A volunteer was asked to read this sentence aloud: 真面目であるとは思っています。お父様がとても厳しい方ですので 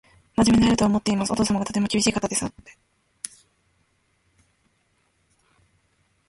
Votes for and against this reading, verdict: 1, 2, rejected